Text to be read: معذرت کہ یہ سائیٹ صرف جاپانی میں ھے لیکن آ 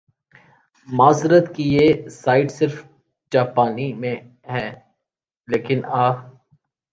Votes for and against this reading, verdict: 2, 0, accepted